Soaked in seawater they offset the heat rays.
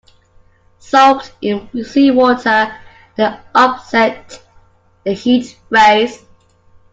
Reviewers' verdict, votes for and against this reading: accepted, 2, 0